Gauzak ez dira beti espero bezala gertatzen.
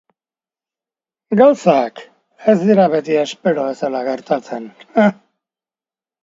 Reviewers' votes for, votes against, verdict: 2, 2, rejected